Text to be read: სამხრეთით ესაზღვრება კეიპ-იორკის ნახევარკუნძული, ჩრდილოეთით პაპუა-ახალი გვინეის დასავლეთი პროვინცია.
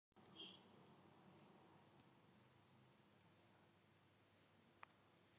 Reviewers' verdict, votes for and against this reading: rejected, 0, 2